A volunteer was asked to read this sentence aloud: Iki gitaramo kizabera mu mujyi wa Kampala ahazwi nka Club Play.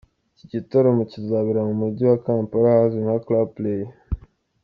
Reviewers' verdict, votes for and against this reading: accepted, 2, 1